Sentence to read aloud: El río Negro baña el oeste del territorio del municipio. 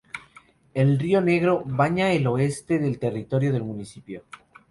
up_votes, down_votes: 0, 2